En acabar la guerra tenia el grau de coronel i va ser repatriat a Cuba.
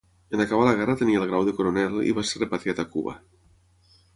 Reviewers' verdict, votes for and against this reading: rejected, 3, 3